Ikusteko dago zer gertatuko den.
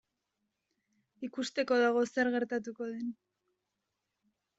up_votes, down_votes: 2, 1